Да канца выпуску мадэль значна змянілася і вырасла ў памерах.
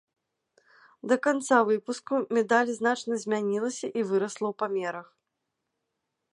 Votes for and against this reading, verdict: 0, 2, rejected